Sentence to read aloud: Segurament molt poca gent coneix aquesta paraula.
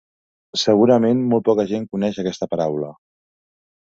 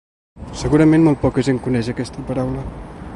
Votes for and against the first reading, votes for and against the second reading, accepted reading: 3, 0, 1, 2, first